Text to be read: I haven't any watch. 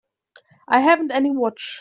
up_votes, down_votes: 2, 0